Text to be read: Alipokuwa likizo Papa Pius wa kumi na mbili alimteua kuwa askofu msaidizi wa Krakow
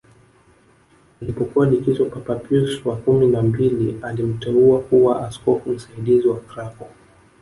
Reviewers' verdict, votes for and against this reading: rejected, 1, 2